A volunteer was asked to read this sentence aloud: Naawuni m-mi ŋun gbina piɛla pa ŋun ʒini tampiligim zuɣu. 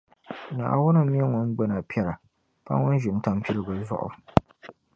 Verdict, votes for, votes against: rejected, 0, 2